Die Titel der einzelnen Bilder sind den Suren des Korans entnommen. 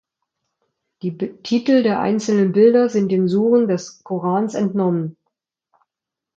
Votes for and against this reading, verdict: 0, 2, rejected